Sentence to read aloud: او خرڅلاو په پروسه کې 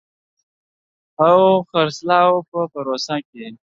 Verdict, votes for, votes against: accepted, 2, 1